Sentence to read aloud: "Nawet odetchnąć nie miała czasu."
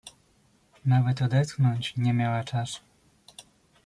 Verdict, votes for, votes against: accepted, 2, 1